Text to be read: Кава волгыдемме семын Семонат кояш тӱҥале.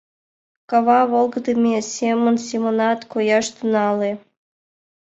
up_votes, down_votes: 2, 3